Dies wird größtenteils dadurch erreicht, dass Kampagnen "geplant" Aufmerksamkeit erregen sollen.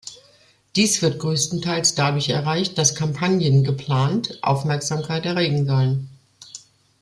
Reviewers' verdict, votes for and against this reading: accepted, 2, 0